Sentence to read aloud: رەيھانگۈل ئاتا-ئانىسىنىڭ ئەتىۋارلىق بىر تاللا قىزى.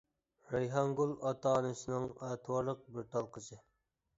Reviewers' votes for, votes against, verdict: 0, 2, rejected